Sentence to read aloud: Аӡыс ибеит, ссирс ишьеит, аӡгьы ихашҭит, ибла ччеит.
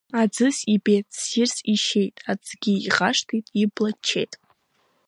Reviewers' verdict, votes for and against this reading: rejected, 1, 2